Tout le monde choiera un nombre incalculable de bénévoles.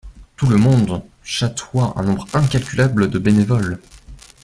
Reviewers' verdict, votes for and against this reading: rejected, 0, 2